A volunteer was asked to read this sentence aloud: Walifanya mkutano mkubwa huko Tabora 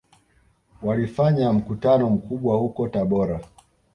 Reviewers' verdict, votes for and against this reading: accepted, 2, 1